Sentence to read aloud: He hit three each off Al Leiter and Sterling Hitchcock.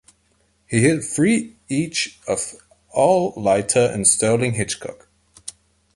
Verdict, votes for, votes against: accepted, 2, 0